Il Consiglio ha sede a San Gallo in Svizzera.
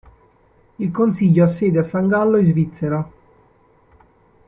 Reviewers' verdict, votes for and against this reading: accepted, 2, 0